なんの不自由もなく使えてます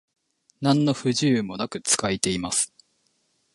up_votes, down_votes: 1, 2